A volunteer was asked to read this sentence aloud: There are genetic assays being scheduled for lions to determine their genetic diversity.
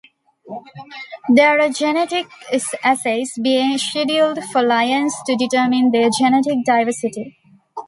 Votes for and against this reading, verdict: 1, 2, rejected